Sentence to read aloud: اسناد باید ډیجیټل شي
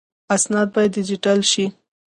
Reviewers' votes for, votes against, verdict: 1, 2, rejected